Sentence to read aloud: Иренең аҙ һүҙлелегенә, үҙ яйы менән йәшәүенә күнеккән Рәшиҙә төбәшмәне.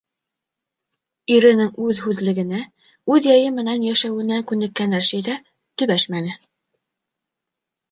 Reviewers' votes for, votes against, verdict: 1, 2, rejected